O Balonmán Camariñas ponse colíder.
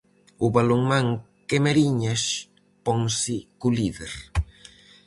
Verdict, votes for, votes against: rejected, 0, 4